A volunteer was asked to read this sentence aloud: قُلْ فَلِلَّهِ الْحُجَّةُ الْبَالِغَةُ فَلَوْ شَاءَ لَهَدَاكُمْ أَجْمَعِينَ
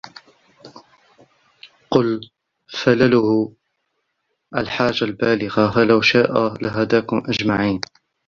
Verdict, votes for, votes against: rejected, 1, 2